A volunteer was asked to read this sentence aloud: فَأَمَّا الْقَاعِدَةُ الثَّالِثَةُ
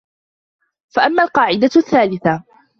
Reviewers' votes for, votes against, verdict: 2, 1, accepted